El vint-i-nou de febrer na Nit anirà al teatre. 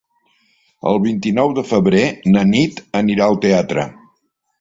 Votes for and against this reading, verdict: 3, 0, accepted